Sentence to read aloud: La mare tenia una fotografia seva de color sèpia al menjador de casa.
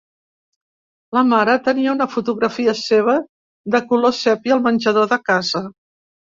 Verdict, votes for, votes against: accepted, 3, 0